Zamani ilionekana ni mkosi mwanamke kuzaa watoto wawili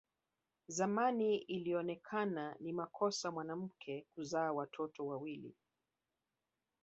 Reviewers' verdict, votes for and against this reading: rejected, 1, 2